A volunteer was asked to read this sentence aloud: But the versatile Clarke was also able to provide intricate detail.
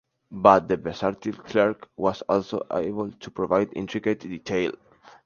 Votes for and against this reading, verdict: 2, 0, accepted